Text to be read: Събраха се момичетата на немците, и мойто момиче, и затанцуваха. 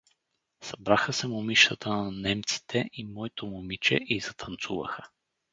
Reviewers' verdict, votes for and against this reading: accepted, 4, 0